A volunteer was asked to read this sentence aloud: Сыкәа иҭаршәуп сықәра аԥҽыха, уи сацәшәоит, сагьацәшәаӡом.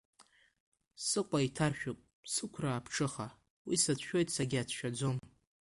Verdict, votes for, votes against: accepted, 2, 0